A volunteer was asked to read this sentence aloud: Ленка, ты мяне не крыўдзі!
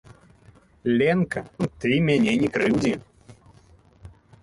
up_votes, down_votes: 0, 2